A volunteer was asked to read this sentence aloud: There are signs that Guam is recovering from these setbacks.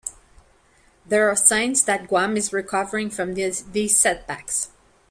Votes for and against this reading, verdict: 0, 2, rejected